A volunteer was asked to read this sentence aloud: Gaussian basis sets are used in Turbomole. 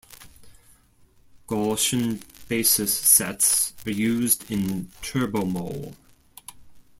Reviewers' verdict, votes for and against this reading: rejected, 1, 2